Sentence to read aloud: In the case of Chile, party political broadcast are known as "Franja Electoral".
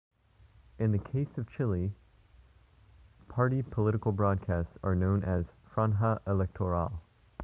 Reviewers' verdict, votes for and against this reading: accepted, 2, 1